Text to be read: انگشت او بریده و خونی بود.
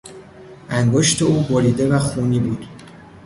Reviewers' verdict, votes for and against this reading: accepted, 2, 0